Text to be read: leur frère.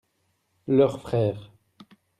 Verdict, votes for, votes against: accepted, 2, 0